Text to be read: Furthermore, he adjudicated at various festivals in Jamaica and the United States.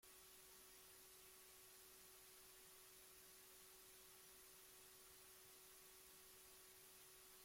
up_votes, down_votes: 0, 2